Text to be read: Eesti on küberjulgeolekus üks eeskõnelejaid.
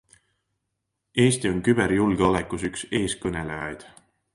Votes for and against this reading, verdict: 2, 0, accepted